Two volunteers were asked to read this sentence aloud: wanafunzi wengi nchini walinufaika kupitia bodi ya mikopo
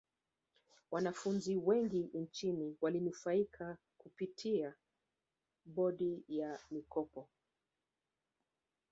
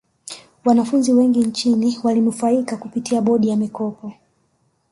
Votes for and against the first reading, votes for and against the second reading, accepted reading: 1, 2, 2, 0, second